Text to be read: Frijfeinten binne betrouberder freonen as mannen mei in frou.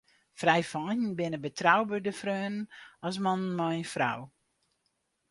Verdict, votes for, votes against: accepted, 4, 0